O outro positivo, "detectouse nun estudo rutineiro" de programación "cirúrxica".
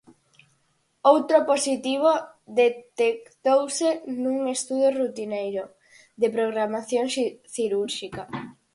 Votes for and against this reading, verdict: 0, 4, rejected